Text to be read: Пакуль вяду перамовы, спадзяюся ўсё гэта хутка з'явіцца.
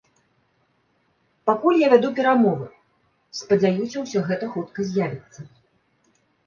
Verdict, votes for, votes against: rejected, 0, 2